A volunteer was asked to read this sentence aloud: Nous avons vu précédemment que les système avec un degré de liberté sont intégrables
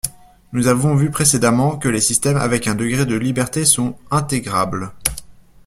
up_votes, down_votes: 2, 0